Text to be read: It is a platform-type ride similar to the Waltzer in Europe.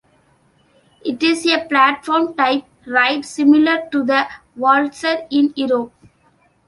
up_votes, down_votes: 2, 1